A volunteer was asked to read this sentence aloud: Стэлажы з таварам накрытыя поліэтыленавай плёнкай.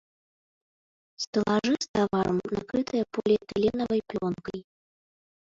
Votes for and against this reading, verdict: 0, 3, rejected